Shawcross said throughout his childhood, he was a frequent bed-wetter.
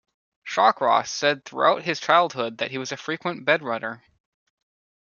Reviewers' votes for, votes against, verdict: 1, 2, rejected